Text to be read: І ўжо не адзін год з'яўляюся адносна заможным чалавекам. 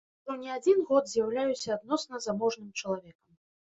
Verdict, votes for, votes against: rejected, 1, 3